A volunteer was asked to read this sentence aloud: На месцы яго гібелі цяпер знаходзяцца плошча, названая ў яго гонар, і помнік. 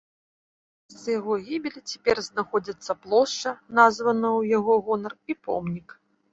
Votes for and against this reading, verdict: 1, 2, rejected